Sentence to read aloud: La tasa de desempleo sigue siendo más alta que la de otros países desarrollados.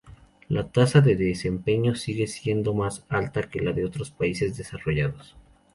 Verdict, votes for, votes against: rejected, 2, 2